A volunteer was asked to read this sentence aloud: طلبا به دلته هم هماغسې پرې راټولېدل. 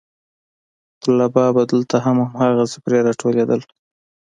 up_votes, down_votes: 2, 0